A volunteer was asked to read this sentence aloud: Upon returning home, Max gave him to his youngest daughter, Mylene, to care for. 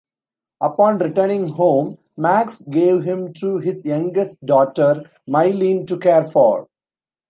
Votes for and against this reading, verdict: 2, 0, accepted